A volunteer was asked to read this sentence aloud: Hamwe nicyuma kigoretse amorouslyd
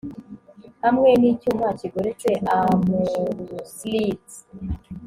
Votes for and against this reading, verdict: 1, 2, rejected